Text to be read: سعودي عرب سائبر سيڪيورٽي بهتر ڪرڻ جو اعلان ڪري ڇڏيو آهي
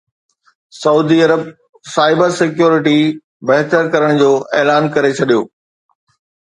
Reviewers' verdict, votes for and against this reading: accepted, 2, 0